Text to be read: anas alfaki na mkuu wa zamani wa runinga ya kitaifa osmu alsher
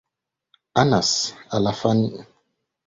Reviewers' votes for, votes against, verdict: 6, 11, rejected